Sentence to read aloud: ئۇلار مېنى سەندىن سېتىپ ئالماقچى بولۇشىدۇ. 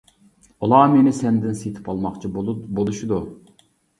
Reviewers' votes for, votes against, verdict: 0, 2, rejected